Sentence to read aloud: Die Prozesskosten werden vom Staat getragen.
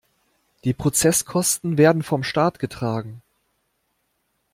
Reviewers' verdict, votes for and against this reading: accepted, 2, 0